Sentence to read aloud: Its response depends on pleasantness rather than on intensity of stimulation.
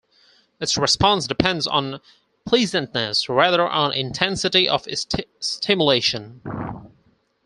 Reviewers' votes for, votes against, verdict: 0, 4, rejected